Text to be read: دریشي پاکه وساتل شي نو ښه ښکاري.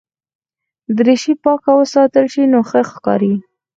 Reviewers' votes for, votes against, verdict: 0, 4, rejected